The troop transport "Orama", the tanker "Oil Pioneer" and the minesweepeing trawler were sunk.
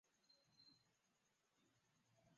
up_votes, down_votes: 0, 2